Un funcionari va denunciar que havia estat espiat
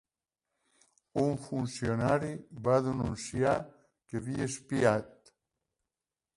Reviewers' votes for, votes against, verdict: 0, 2, rejected